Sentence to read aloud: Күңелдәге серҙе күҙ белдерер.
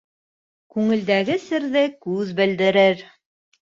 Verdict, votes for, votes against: accepted, 4, 0